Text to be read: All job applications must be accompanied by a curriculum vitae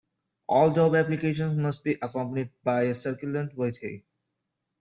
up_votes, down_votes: 0, 2